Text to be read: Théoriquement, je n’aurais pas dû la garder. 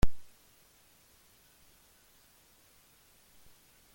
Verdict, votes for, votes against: rejected, 1, 2